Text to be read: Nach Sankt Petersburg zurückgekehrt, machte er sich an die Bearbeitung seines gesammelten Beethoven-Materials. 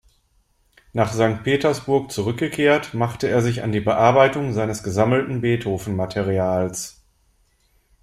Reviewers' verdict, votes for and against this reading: accepted, 2, 0